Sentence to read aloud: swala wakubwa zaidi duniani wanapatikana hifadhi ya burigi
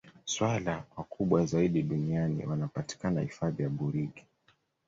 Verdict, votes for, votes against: accepted, 2, 0